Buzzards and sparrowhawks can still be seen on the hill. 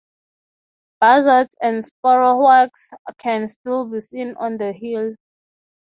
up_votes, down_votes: 3, 3